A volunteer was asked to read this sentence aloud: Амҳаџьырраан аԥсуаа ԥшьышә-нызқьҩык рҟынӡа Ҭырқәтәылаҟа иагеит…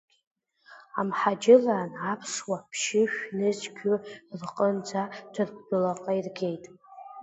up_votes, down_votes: 1, 2